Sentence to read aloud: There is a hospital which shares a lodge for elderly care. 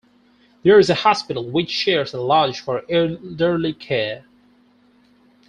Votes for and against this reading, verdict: 2, 4, rejected